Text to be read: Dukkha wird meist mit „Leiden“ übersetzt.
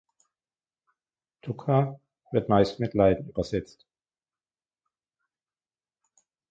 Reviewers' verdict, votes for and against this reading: accepted, 2, 1